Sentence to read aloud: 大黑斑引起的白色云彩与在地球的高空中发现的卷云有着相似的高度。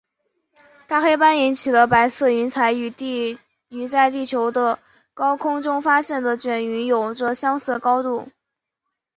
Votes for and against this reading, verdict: 2, 3, rejected